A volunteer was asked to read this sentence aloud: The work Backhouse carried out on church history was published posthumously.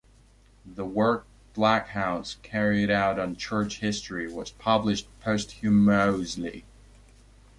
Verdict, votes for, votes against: accepted, 2, 0